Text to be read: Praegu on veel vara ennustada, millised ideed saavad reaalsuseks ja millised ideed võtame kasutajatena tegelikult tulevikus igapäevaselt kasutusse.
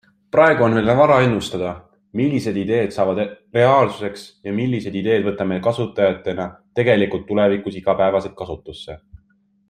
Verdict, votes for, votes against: accepted, 2, 1